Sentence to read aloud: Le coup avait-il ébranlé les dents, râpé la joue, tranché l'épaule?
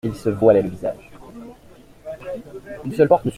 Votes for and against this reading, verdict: 0, 2, rejected